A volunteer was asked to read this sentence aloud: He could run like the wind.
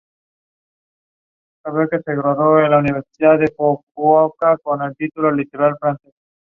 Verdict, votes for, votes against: rejected, 0, 2